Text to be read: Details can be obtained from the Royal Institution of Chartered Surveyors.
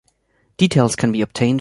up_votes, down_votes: 0, 2